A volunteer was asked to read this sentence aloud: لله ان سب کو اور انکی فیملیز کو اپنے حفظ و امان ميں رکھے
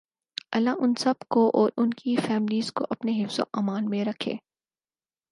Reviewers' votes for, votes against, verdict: 4, 0, accepted